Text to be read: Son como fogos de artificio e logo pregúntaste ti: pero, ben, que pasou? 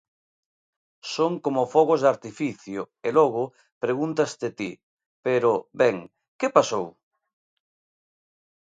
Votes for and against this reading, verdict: 2, 0, accepted